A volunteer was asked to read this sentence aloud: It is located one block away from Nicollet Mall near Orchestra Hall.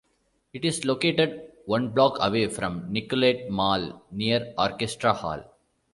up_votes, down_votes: 2, 0